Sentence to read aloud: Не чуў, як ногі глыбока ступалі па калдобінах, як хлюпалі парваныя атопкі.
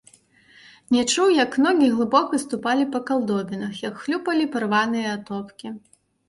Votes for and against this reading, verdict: 2, 1, accepted